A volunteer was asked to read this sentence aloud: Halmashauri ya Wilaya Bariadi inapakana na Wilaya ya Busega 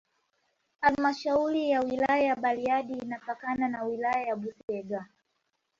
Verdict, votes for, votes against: rejected, 1, 2